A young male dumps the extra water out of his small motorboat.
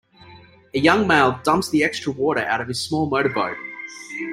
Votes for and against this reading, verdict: 2, 0, accepted